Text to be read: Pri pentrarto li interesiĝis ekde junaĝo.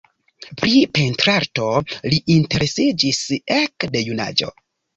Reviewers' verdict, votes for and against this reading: accepted, 2, 0